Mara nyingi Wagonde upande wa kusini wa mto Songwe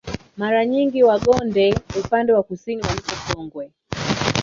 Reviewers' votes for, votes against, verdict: 2, 3, rejected